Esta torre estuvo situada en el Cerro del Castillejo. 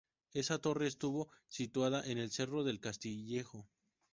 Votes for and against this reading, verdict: 2, 0, accepted